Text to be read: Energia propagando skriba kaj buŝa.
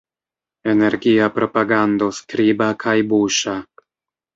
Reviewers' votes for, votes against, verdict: 2, 0, accepted